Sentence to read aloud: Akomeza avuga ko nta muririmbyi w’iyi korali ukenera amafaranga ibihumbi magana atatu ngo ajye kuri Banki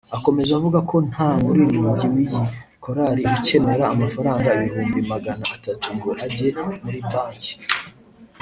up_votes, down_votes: 0, 2